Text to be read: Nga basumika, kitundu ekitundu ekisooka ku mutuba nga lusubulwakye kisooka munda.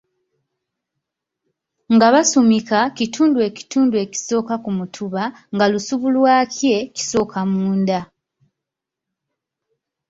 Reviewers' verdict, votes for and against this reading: rejected, 0, 2